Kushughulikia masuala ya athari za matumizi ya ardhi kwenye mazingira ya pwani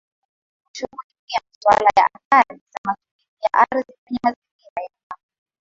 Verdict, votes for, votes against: rejected, 0, 2